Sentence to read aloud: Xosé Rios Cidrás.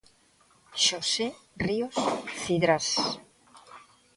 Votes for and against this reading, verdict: 1, 2, rejected